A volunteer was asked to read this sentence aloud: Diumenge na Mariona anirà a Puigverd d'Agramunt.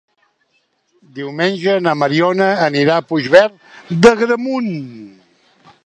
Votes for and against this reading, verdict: 2, 0, accepted